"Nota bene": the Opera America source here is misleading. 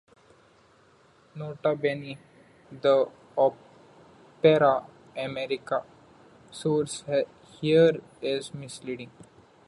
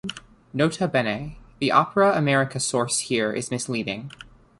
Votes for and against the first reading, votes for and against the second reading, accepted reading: 0, 2, 2, 0, second